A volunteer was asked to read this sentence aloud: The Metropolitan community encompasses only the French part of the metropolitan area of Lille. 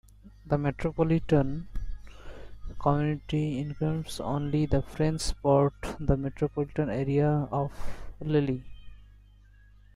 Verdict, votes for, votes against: rejected, 0, 2